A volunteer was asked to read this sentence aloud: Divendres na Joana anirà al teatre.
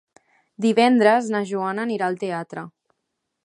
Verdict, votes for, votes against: accepted, 2, 0